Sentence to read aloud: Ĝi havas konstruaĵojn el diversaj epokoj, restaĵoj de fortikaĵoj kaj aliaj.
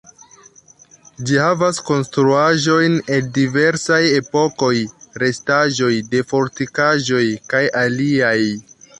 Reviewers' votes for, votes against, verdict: 1, 2, rejected